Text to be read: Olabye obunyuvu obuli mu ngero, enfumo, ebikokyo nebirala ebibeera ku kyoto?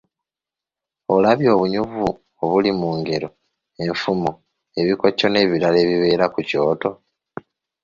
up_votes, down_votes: 2, 0